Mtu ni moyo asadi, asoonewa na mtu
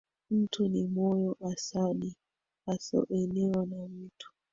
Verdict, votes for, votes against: rejected, 1, 2